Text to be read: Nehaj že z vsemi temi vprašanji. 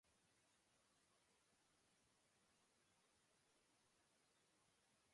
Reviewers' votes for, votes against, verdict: 0, 2, rejected